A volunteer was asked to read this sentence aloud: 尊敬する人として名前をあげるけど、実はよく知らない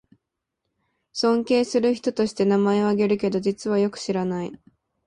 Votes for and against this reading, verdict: 2, 0, accepted